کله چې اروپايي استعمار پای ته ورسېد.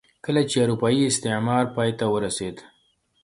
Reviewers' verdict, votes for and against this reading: rejected, 0, 2